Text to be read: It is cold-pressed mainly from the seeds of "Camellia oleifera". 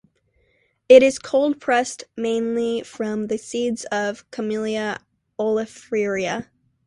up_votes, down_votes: 2, 0